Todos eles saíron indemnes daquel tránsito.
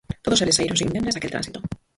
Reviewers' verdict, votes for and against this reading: rejected, 0, 4